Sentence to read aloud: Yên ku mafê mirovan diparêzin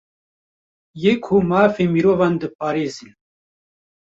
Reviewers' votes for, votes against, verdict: 0, 2, rejected